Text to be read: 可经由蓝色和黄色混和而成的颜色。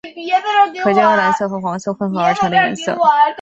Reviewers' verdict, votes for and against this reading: rejected, 0, 2